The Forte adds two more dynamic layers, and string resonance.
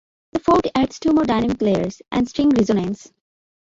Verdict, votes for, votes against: rejected, 0, 2